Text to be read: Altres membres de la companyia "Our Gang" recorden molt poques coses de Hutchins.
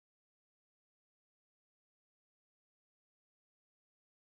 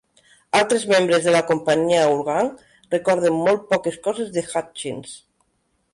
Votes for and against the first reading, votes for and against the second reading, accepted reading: 0, 2, 2, 0, second